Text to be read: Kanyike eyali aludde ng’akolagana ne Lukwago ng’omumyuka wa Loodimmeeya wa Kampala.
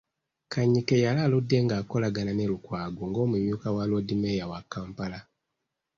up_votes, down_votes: 2, 3